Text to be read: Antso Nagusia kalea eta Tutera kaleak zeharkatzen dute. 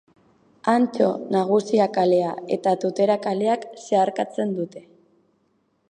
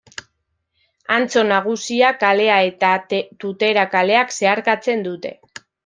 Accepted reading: first